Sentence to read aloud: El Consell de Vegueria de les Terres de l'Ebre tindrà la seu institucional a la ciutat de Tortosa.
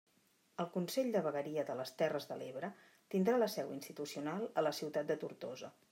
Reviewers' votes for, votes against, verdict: 2, 0, accepted